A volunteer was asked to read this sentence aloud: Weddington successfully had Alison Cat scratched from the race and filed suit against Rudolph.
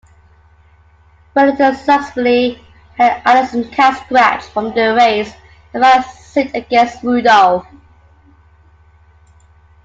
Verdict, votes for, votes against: rejected, 0, 2